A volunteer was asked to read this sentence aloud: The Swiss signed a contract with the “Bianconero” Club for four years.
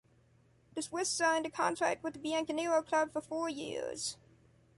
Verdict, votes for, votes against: accepted, 2, 0